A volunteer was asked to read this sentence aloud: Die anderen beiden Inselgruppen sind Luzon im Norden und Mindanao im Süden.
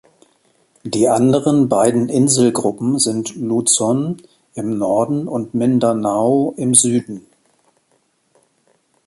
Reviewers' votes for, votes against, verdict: 2, 0, accepted